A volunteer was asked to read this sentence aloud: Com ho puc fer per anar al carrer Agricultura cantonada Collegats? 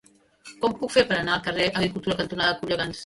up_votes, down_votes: 1, 2